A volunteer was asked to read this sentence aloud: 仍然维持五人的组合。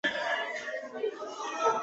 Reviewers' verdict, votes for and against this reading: rejected, 1, 2